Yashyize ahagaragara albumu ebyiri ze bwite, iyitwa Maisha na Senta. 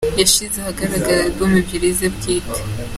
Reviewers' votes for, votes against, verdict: 1, 2, rejected